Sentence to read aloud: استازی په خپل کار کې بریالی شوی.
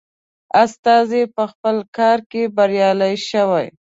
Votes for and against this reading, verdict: 2, 0, accepted